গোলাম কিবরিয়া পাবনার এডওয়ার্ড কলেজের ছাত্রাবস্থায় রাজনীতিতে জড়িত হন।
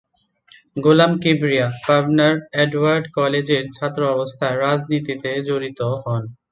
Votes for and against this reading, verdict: 2, 0, accepted